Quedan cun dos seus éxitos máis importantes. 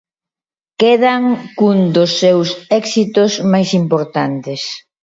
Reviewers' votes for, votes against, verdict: 2, 0, accepted